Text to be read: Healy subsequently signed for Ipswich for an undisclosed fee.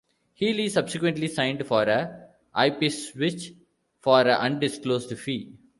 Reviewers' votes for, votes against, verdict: 0, 2, rejected